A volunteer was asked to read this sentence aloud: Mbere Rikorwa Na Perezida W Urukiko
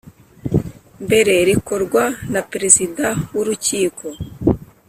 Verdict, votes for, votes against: rejected, 0, 2